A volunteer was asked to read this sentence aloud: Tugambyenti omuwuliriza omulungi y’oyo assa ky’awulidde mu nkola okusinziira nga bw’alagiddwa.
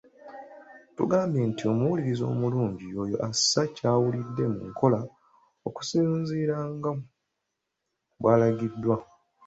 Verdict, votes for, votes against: accepted, 2, 1